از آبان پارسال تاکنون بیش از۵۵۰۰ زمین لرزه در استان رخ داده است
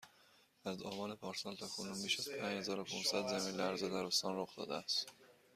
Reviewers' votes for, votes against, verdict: 0, 2, rejected